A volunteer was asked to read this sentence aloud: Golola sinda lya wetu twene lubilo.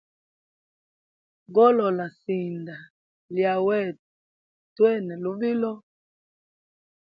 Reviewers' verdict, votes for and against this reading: accepted, 2, 0